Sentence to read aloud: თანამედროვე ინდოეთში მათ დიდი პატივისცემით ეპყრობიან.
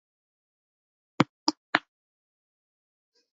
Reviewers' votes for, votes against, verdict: 1, 2, rejected